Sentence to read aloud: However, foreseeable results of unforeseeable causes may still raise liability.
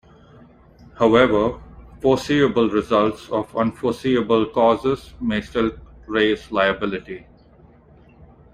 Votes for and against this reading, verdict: 2, 0, accepted